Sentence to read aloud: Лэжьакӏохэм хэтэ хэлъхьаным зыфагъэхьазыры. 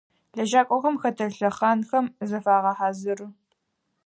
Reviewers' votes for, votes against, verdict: 2, 4, rejected